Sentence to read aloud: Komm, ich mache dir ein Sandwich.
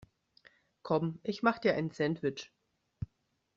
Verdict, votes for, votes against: rejected, 1, 2